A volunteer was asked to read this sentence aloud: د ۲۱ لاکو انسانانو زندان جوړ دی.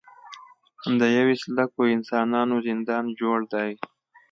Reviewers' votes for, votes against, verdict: 0, 2, rejected